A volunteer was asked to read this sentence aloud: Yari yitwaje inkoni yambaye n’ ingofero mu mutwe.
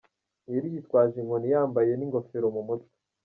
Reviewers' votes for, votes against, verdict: 1, 2, rejected